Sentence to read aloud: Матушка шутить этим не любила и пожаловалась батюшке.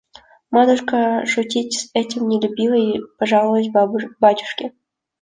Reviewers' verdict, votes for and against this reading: rejected, 0, 2